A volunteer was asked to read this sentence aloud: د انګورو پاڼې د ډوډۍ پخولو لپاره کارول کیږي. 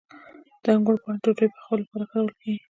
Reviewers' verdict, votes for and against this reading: accepted, 2, 1